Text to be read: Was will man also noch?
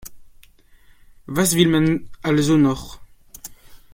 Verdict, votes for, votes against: accepted, 2, 0